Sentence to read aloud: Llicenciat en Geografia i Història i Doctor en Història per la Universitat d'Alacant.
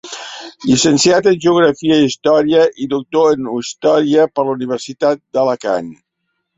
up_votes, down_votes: 1, 2